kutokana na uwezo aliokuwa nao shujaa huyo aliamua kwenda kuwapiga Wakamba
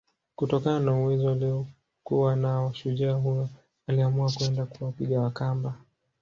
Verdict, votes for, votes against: accepted, 2, 0